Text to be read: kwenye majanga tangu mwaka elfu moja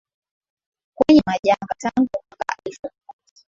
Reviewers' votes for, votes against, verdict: 7, 6, accepted